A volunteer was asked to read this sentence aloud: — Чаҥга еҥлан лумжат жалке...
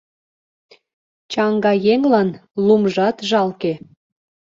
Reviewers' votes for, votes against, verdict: 2, 0, accepted